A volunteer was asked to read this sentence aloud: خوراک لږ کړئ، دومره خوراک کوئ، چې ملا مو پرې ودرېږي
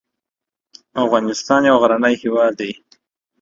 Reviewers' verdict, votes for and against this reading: rejected, 0, 2